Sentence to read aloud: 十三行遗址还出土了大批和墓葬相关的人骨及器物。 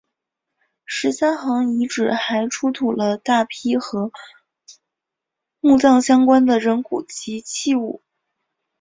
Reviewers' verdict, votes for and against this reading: accepted, 3, 0